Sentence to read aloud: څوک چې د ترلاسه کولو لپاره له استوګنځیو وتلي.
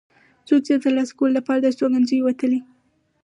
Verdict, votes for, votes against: rejected, 2, 2